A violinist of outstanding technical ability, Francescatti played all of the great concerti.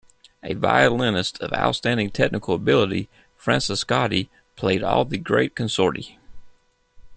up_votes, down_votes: 2, 0